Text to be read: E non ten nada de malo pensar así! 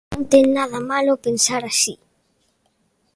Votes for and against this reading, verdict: 1, 2, rejected